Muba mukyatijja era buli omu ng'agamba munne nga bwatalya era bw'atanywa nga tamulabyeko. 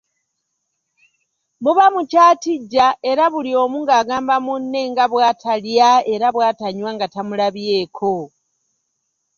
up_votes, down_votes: 2, 0